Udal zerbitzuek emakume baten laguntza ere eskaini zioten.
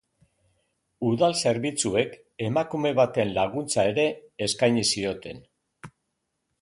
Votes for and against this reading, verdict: 2, 2, rejected